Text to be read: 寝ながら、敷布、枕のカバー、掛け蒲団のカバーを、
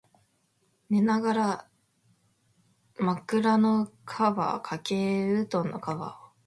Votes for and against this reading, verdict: 1, 3, rejected